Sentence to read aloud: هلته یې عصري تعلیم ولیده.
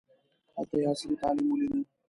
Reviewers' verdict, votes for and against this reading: rejected, 1, 2